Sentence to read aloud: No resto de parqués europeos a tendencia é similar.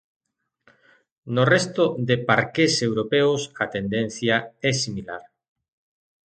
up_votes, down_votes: 2, 1